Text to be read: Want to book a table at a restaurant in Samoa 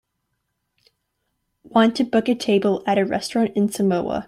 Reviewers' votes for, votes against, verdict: 2, 1, accepted